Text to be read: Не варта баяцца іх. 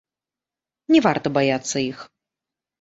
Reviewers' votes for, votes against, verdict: 1, 2, rejected